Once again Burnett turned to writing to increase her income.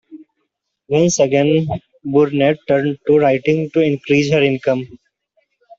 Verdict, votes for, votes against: accepted, 2, 0